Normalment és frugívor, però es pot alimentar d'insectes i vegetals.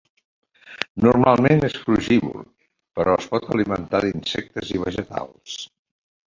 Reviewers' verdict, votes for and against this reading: accepted, 2, 1